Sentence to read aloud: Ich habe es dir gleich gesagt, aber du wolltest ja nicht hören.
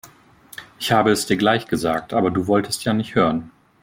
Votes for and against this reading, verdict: 2, 0, accepted